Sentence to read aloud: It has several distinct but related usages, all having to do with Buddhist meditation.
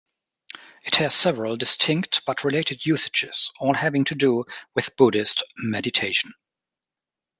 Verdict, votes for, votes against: accepted, 2, 0